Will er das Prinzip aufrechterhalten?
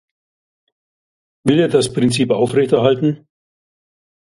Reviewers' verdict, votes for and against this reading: accepted, 2, 0